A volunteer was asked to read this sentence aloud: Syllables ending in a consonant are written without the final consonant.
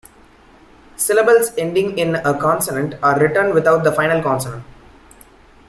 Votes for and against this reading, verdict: 1, 2, rejected